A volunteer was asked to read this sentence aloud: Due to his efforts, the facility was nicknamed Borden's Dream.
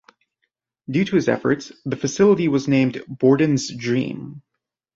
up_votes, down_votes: 0, 2